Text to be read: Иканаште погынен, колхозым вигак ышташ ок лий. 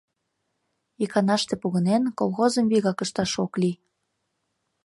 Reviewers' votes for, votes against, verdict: 2, 0, accepted